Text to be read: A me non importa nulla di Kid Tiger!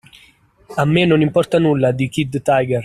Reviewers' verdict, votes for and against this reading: accepted, 2, 0